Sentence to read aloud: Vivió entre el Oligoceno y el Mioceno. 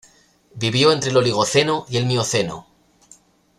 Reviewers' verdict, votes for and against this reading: accepted, 2, 0